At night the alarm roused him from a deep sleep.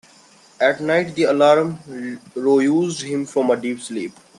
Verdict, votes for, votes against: rejected, 0, 2